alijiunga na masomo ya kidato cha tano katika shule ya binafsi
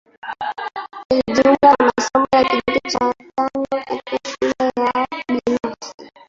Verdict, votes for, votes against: rejected, 0, 2